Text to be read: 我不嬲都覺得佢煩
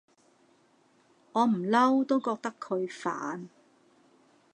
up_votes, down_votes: 0, 2